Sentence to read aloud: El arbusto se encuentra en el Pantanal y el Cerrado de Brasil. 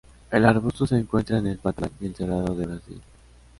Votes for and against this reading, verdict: 2, 0, accepted